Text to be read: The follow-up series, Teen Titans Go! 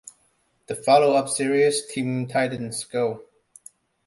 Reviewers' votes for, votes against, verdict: 2, 0, accepted